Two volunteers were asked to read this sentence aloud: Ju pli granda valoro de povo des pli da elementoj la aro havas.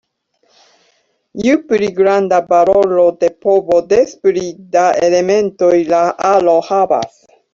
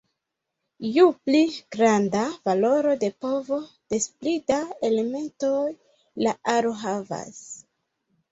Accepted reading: second